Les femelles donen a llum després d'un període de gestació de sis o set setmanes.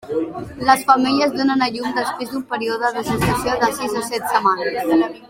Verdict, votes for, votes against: accepted, 2, 1